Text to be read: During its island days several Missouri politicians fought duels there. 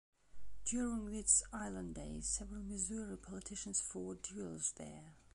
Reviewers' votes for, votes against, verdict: 1, 2, rejected